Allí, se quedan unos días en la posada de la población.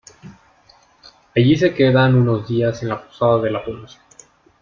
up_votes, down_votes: 1, 2